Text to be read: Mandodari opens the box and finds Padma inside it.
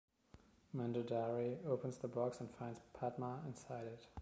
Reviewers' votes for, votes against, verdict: 2, 0, accepted